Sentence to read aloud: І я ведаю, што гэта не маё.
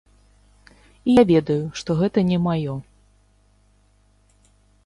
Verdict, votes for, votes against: rejected, 0, 2